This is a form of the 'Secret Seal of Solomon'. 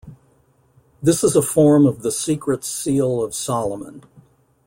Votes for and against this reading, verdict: 2, 0, accepted